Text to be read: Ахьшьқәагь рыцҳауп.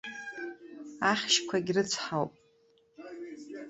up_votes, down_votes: 0, 2